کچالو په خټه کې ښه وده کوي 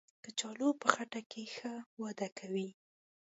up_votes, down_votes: 2, 0